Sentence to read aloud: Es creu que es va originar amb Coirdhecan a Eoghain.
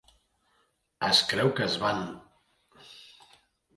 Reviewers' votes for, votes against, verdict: 0, 2, rejected